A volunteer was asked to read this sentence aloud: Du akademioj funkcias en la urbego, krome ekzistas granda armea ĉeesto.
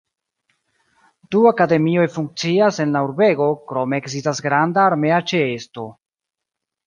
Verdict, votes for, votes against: rejected, 1, 3